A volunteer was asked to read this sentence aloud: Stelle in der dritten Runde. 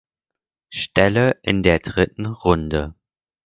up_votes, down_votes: 4, 0